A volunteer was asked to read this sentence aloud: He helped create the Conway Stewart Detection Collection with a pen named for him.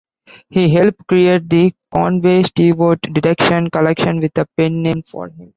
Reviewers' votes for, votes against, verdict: 0, 2, rejected